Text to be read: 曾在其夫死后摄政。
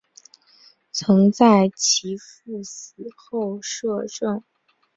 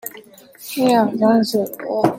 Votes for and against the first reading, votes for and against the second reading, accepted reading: 3, 1, 0, 2, first